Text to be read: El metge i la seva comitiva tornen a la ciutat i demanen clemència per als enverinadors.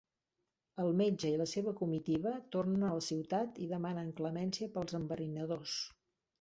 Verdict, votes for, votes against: accepted, 2, 0